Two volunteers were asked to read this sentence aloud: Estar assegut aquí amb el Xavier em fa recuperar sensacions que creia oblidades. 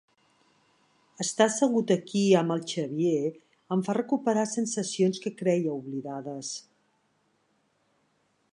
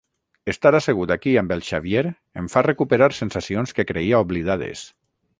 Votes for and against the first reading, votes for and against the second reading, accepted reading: 3, 0, 3, 3, first